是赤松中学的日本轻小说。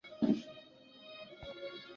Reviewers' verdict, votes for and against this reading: rejected, 1, 3